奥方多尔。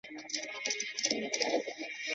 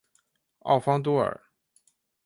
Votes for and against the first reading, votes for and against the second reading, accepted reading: 0, 2, 3, 0, second